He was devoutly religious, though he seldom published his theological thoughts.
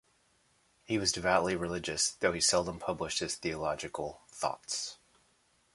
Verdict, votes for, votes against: accepted, 2, 0